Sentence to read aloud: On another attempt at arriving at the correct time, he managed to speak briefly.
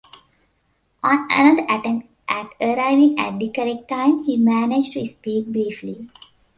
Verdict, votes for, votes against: rejected, 1, 2